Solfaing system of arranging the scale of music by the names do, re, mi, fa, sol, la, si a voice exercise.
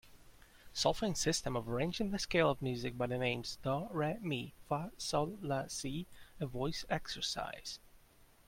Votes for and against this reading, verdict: 2, 0, accepted